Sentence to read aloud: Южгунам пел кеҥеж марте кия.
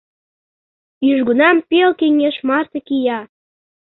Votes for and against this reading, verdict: 2, 0, accepted